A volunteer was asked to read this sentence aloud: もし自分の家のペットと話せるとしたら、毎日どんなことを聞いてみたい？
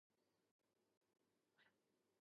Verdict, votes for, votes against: rejected, 0, 2